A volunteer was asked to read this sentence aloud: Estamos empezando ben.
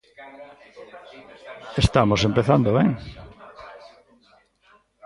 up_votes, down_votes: 2, 1